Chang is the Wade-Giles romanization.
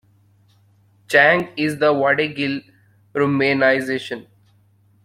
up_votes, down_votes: 0, 2